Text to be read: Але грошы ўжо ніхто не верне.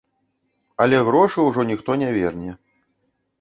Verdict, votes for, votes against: rejected, 1, 2